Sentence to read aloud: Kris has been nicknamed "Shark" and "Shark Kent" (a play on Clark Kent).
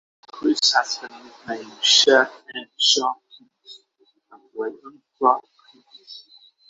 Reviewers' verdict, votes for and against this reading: rejected, 0, 6